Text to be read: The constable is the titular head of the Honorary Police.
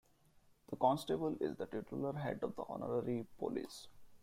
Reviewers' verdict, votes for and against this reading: rejected, 0, 2